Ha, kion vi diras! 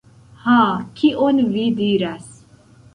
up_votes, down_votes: 1, 2